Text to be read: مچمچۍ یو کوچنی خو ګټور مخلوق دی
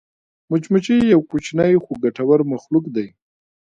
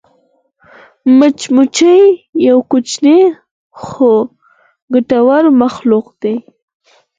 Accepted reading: second